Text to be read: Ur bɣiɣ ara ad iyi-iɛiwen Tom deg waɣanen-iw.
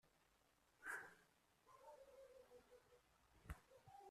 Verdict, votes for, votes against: rejected, 0, 2